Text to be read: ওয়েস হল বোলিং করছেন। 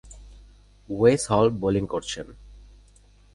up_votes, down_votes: 2, 0